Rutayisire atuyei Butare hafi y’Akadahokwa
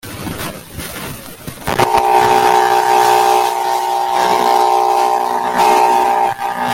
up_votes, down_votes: 0, 2